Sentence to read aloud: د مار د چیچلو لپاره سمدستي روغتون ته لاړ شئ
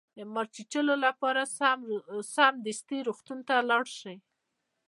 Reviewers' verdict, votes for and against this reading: accepted, 2, 0